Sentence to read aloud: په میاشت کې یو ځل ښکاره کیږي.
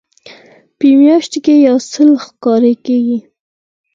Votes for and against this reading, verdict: 4, 0, accepted